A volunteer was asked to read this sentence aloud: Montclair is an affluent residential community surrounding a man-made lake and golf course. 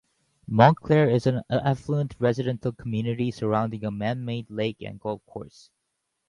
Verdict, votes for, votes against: accepted, 2, 0